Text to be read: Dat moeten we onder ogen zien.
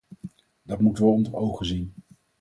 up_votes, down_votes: 2, 2